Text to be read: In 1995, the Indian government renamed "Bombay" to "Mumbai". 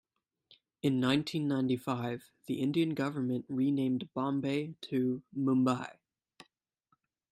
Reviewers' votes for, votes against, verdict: 0, 2, rejected